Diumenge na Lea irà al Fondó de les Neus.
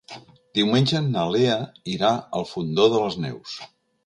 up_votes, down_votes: 3, 0